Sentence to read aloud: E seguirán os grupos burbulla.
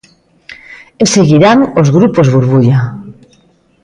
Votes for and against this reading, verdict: 2, 1, accepted